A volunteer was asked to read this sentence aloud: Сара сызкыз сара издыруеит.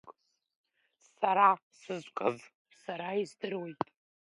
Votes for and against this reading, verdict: 2, 0, accepted